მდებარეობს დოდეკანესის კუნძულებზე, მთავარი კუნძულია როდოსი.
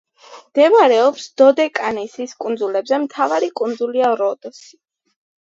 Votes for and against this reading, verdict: 1, 2, rejected